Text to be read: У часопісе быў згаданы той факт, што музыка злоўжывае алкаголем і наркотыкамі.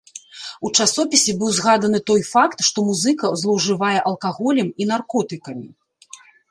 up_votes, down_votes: 1, 2